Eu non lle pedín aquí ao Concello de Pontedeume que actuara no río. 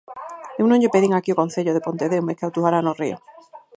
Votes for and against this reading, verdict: 2, 4, rejected